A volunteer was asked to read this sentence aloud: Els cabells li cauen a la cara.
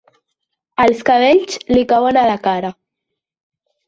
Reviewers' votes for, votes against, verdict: 4, 0, accepted